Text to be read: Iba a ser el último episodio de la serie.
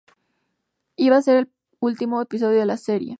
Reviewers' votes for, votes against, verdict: 2, 0, accepted